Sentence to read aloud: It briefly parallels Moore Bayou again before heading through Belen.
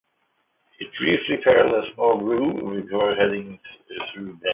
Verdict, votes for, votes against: rejected, 0, 2